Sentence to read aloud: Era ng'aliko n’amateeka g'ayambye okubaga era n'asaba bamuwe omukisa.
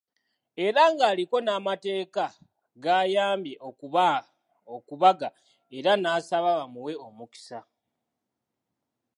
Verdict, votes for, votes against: accepted, 2, 0